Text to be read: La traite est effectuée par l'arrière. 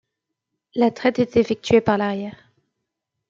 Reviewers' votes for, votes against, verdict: 2, 0, accepted